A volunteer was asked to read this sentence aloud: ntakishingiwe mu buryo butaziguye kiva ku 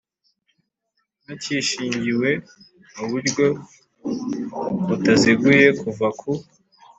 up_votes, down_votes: 2, 0